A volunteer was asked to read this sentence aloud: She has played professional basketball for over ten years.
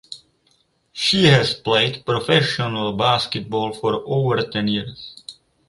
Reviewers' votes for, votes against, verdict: 2, 0, accepted